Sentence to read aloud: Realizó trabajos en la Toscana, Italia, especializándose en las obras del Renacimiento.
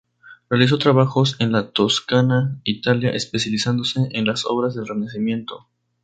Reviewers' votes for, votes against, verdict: 4, 0, accepted